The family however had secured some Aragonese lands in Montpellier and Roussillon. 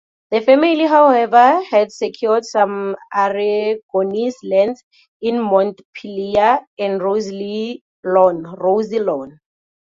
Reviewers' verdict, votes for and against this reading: rejected, 0, 2